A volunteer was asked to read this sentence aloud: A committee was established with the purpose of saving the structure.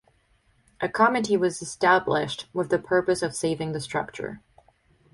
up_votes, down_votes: 4, 0